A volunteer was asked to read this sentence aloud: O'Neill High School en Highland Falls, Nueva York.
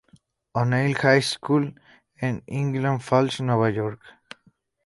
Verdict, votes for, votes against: rejected, 0, 2